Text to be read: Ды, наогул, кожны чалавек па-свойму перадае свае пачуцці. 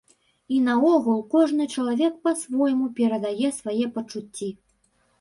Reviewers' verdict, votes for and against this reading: rejected, 1, 2